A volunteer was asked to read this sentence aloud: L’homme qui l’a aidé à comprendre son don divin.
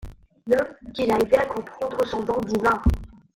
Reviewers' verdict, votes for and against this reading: rejected, 0, 2